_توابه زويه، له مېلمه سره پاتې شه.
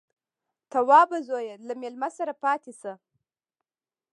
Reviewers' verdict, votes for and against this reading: rejected, 0, 2